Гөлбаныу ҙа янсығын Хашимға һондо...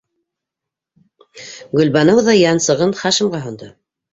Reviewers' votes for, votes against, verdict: 2, 0, accepted